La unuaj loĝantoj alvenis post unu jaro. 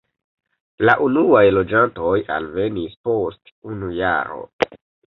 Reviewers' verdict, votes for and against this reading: accepted, 2, 0